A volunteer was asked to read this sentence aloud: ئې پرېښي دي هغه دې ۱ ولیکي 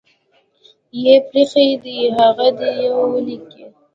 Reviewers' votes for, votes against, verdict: 0, 2, rejected